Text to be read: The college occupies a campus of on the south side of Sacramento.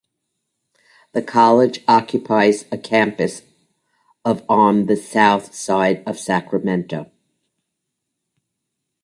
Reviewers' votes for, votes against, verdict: 0, 2, rejected